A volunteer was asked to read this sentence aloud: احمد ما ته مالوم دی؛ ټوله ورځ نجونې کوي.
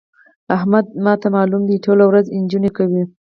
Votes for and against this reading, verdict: 0, 2, rejected